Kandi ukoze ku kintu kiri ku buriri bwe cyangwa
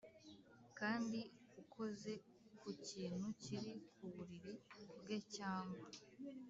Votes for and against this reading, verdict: 2, 0, accepted